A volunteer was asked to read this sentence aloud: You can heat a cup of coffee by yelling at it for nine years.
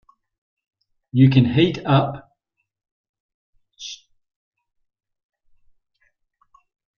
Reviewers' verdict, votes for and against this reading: rejected, 0, 2